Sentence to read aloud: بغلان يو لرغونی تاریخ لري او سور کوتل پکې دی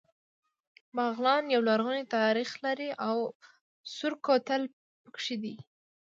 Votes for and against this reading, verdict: 2, 0, accepted